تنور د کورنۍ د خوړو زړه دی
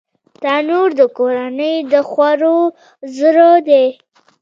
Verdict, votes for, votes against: accepted, 2, 0